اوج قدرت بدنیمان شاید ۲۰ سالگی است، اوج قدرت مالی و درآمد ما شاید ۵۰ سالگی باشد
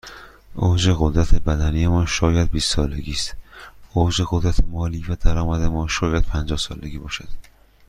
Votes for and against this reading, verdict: 0, 2, rejected